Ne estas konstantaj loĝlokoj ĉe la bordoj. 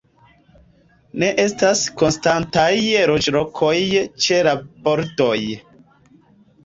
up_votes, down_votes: 2, 0